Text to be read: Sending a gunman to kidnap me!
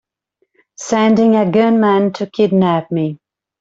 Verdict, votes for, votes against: accepted, 2, 0